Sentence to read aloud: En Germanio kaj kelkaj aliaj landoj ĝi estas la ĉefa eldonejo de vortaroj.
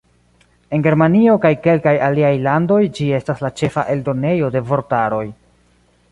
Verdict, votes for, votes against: accepted, 2, 0